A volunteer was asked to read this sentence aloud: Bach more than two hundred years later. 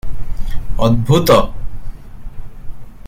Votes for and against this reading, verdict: 0, 2, rejected